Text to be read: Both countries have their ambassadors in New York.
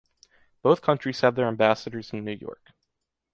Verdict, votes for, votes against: accepted, 2, 1